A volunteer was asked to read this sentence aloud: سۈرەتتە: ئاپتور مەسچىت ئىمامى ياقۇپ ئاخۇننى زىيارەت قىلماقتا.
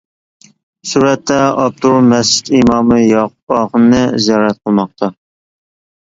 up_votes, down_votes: 1, 2